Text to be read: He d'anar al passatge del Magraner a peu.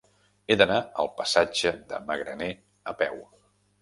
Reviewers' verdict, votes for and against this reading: rejected, 0, 2